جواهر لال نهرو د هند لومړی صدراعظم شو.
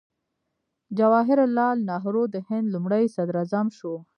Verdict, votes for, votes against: rejected, 0, 2